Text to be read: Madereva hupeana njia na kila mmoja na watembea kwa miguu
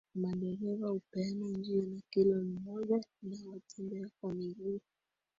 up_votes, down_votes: 2, 3